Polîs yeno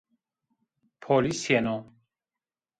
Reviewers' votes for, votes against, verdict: 2, 1, accepted